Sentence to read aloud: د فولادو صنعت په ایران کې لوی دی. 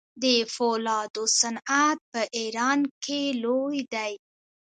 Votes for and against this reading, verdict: 1, 2, rejected